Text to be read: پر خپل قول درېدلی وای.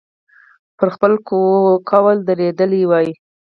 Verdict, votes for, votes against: accepted, 4, 0